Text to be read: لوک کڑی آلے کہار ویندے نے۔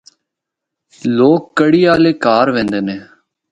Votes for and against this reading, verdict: 0, 2, rejected